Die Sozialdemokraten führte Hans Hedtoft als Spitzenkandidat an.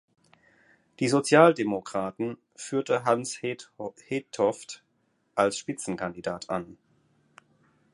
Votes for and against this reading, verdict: 0, 4, rejected